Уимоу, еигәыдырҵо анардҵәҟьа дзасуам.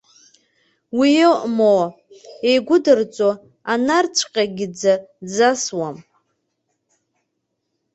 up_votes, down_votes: 1, 2